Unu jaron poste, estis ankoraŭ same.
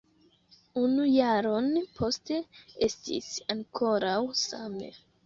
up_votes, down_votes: 2, 1